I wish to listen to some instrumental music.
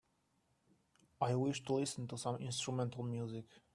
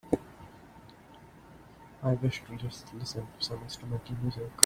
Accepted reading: first